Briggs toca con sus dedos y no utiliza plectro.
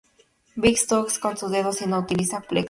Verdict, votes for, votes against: rejected, 0, 2